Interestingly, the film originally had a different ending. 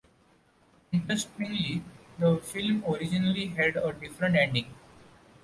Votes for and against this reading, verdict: 1, 2, rejected